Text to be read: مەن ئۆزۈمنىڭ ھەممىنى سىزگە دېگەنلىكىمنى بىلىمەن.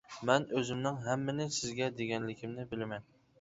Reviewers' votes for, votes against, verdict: 2, 0, accepted